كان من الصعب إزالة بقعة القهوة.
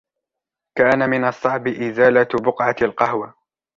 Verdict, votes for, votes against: accepted, 2, 0